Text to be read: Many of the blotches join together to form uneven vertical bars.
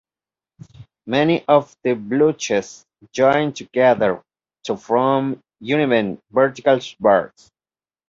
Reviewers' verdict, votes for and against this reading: rejected, 0, 2